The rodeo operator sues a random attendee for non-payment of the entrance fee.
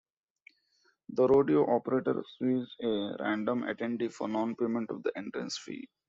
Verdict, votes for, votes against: accepted, 2, 1